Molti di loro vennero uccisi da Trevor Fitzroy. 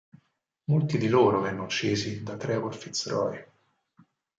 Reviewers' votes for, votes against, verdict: 2, 4, rejected